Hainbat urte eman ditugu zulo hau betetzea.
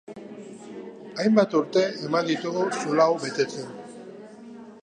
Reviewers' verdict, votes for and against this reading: rejected, 1, 2